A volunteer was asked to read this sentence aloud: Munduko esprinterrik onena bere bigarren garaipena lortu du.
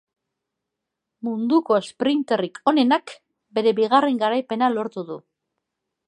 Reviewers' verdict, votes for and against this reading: rejected, 0, 2